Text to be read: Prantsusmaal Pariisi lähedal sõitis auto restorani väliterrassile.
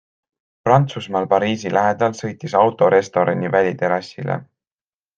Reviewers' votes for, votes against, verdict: 2, 0, accepted